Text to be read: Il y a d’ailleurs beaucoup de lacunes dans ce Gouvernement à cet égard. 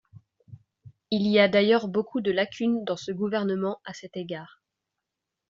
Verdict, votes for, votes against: accepted, 2, 0